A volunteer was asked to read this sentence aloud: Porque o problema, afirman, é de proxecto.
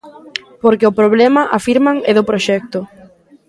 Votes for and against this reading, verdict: 1, 2, rejected